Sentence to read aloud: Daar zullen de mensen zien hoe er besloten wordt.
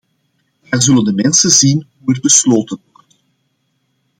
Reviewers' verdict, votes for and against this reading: rejected, 0, 2